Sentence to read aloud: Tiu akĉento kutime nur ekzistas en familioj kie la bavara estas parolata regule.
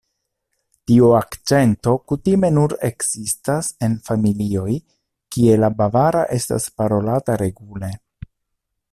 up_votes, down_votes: 2, 0